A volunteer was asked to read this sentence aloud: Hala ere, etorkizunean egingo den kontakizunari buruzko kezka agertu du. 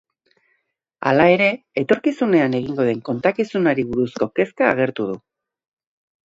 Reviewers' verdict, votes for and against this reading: accepted, 2, 0